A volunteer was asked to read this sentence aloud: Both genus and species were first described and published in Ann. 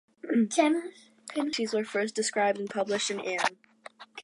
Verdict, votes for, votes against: rejected, 0, 2